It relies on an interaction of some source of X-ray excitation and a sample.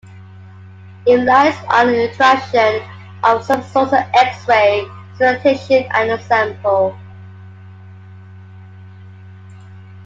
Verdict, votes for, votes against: rejected, 0, 2